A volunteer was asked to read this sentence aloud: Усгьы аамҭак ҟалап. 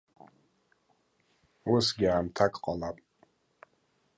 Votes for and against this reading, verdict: 2, 0, accepted